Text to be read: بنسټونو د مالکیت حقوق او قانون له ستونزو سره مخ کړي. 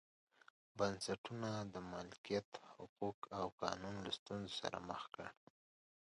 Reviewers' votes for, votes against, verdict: 2, 0, accepted